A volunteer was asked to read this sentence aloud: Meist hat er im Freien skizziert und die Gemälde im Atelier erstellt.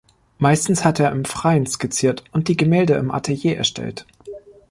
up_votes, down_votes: 0, 3